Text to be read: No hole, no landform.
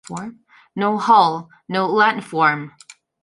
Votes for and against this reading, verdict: 2, 0, accepted